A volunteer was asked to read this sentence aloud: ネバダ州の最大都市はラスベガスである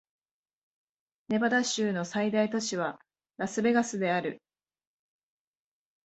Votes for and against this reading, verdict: 2, 0, accepted